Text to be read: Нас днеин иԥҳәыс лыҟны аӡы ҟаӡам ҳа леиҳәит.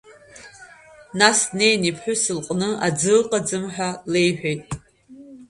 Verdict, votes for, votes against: rejected, 1, 3